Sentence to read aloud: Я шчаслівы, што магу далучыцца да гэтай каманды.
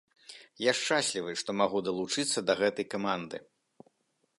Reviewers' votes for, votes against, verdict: 1, 2, rejected